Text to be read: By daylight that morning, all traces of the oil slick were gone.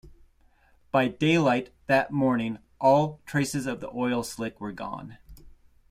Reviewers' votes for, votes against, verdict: 2, 0, accepted